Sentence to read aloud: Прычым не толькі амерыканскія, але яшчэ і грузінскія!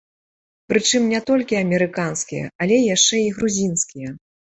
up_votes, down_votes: 2, 0